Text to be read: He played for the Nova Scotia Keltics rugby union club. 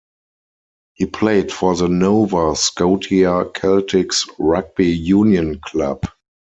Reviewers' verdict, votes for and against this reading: accepted, 4, 0